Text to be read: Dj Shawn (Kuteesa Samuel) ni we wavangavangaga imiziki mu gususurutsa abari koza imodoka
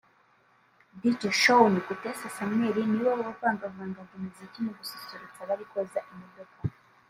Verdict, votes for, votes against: rejected, 1, 2